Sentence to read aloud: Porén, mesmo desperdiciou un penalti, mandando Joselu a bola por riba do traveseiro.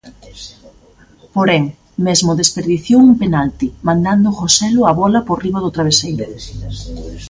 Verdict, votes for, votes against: rejected, 1, 2